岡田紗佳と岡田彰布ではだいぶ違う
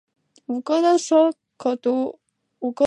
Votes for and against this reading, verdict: 1, 4, rejected